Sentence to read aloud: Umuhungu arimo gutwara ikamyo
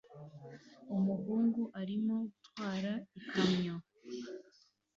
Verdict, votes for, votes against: accepted, 2, 1